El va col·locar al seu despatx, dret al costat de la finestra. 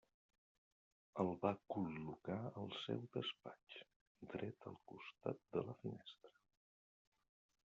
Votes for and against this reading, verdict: 1, 2, rejected